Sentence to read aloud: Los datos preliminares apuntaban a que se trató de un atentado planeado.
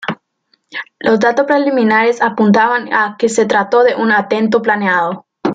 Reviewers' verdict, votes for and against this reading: rejected, 0, 2